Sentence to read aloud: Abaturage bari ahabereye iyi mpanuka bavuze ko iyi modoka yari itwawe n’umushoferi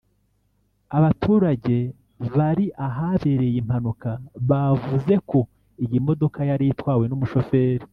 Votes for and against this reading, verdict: 0, 2, rejected